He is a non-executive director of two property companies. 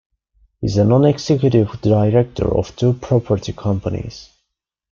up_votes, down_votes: 2, 0